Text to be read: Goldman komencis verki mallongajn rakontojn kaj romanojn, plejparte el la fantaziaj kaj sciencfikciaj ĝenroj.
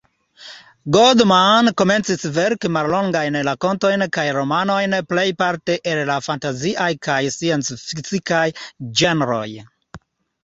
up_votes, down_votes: 2, 0